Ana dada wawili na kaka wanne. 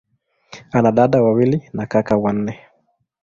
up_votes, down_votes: 2, 0